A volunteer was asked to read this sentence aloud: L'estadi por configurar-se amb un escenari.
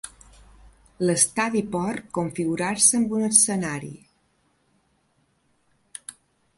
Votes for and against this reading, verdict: 0, 2, rejected